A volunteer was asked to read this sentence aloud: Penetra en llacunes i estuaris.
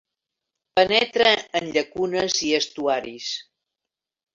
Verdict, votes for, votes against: rejected, 1, 2